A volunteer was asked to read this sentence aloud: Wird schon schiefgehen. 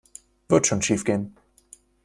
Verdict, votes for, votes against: accepted, 2, 0